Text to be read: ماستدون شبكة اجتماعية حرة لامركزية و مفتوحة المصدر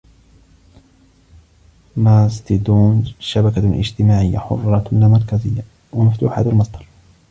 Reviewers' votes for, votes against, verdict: 1, 2, rejected